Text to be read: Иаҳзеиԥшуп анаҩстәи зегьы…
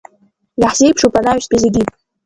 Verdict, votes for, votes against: accepted, 2, 0